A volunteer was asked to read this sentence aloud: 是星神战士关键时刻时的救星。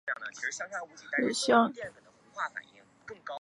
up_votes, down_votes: 0, 2